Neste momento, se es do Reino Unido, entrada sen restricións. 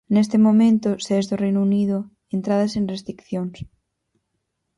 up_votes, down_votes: 0, 4